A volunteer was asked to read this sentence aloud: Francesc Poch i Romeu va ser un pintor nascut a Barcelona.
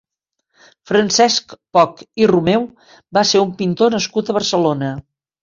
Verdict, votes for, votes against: accepted, 2, 0